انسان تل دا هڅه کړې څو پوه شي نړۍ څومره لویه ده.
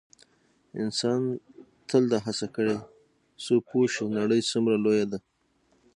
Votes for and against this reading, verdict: 3, 0, accepted